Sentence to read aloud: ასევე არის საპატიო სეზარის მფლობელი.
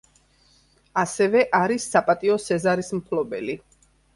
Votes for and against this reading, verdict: 2, 0, accepted